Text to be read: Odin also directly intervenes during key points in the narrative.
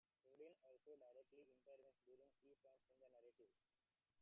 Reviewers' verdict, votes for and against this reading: rejected, 0, 2